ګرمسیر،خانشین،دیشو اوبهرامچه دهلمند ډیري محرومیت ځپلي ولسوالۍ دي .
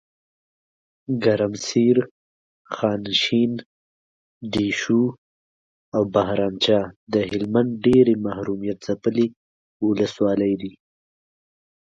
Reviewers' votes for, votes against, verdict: 8, 0, accepted